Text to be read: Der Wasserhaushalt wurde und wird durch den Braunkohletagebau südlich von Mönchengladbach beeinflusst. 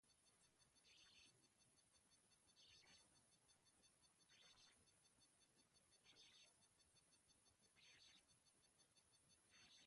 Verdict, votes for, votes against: rejected, 0, 2